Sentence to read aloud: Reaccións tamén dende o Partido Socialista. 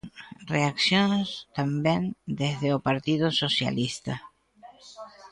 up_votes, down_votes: 1, 2